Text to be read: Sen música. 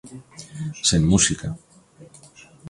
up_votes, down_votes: 2, 0